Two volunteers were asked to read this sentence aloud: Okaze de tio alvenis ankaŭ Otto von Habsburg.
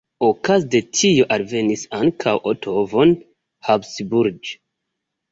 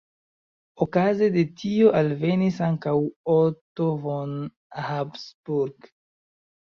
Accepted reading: first